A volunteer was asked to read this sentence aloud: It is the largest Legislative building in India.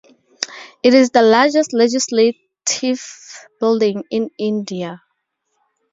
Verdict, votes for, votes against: accepted, 4, 0